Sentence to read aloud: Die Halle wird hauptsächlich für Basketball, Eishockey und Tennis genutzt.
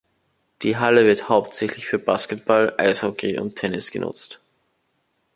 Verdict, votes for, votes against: accepted, 2, 0